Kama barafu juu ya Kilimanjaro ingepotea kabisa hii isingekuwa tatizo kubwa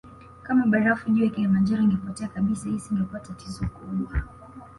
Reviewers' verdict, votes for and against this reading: accepted, 2, 0